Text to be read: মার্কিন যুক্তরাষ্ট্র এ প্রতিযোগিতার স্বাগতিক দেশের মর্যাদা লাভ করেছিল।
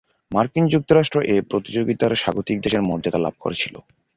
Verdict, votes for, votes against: accepted, 2, 0